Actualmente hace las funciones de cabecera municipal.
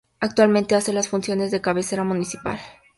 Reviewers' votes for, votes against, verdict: 2, 0, accepted